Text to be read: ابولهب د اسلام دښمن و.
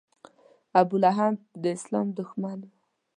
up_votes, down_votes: 2, 0